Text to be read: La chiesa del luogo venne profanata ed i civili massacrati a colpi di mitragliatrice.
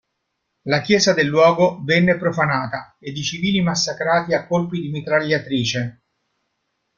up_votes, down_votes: 2, 0